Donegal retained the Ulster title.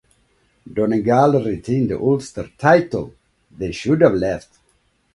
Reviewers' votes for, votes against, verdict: 1, 2, rejected